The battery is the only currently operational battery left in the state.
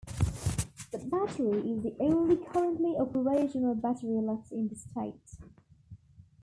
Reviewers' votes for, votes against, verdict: 3, 1, accepted